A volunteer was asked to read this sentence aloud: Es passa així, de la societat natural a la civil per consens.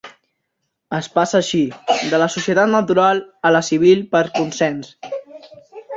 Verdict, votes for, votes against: accepted, 3, 0